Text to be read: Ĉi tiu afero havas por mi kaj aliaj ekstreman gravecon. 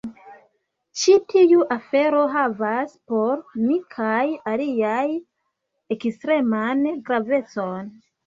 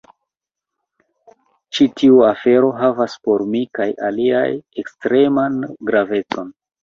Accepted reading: first